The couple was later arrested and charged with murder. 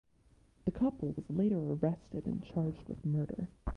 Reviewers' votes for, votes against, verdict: 1, 2, rejected